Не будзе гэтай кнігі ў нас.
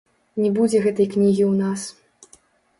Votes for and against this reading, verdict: 0, 2, rejected